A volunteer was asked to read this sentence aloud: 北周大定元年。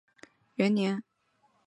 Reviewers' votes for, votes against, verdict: 0, 2, rejected